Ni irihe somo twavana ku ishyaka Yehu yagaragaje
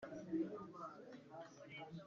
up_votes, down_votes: 1, 2